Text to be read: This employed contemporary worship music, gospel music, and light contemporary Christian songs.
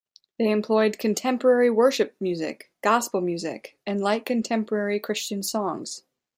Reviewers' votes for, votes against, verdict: 2, 1, accepted